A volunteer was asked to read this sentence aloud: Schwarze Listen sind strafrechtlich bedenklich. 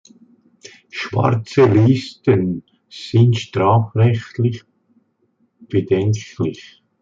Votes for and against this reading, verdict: 2, 0, accepted